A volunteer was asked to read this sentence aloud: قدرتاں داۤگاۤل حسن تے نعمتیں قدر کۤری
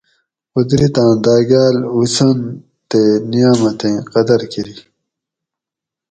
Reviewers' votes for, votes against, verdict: 4, 0, accepted